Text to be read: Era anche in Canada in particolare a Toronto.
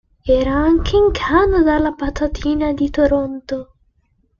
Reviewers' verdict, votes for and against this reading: rejected, 0, 2